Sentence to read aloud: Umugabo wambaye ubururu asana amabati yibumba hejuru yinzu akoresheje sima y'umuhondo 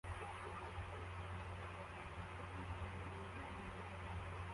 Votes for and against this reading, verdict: 0, 2, rejected